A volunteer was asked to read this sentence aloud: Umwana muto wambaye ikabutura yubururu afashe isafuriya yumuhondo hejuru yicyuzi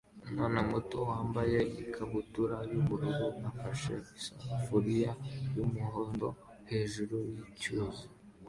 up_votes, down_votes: 2, 0